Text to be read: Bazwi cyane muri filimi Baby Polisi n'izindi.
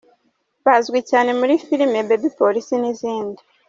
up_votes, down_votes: 2, 0